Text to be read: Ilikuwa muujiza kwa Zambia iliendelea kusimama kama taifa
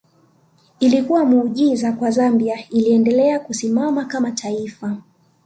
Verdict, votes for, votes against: accepted, 2, 0